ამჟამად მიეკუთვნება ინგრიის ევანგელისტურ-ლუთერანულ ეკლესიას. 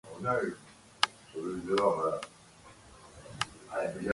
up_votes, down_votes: 0, 2